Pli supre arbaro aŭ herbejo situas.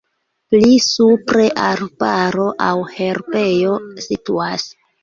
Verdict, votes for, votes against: rejected, 1, 2